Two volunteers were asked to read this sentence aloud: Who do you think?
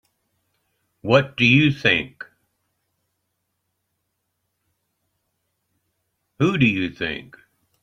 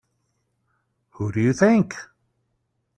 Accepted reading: second